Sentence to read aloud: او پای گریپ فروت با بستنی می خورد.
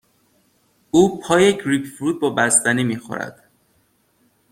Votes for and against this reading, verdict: 2, 0, accepted